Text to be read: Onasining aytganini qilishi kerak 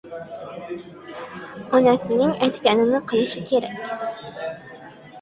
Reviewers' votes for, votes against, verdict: 0, 2, rejected